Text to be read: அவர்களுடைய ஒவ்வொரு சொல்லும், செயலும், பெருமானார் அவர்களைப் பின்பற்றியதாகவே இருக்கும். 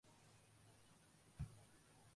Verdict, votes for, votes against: rejected, 0, 2